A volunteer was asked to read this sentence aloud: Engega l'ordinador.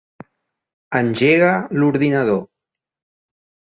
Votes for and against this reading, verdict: 4, 0, accepted